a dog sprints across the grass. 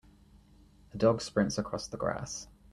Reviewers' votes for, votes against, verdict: 2, 0, accepted